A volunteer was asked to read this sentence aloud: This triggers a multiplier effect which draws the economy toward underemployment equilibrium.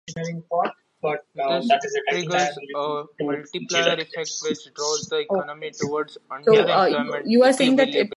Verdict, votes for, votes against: rejected, 0, 2